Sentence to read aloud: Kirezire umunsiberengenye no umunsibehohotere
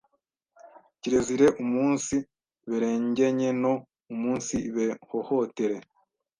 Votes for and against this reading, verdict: 1, 2, rejected